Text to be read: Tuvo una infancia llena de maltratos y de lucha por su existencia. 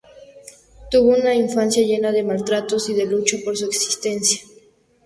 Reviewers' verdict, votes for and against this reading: accepted, 2, 0